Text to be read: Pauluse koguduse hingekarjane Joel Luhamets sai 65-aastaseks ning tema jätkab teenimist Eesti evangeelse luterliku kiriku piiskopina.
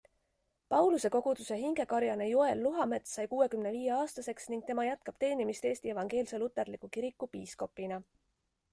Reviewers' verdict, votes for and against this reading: rejected, 0, 2